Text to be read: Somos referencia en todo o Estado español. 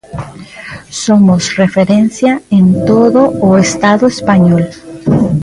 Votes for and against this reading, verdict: 1, 2, rejected